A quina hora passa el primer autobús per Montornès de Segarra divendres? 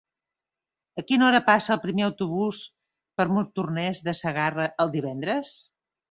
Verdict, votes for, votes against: rejected, 2, 3